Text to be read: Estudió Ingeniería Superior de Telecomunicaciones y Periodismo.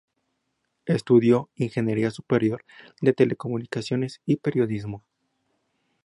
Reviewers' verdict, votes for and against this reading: accepted, 2, 0